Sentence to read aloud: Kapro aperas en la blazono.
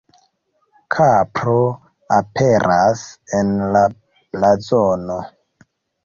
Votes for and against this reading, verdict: 2, 0, accepted